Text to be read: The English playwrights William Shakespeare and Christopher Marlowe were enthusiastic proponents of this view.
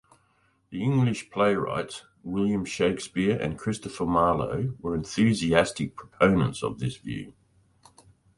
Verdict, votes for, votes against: accepted, 2, 1